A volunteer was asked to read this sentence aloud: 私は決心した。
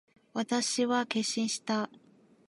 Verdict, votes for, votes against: rejected, 2, 5